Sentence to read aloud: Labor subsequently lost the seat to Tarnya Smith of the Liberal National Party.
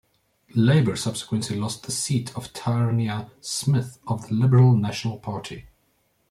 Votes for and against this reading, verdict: 0, 2, rejected